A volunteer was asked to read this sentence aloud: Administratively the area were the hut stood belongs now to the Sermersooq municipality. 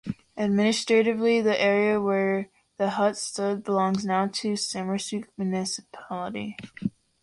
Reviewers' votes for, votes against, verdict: 2, 0, accepted